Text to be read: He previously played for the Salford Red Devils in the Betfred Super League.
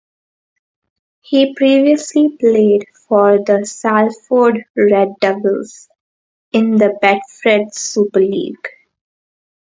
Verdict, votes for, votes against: rejected, 0, 2